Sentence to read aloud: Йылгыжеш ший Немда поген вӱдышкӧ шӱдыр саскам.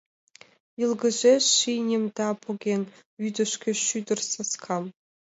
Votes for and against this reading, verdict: 4, 1, accepted